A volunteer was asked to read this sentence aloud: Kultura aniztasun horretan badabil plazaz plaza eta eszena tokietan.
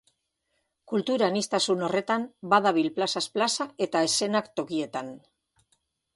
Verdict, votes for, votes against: rejected, 1, 2